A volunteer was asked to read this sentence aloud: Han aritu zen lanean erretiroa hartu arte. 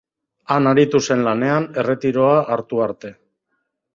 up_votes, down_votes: 2, 0